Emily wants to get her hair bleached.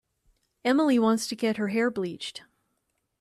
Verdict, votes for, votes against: accepted, 2, 0